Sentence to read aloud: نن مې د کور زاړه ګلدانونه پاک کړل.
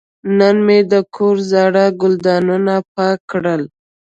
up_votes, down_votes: 2, 0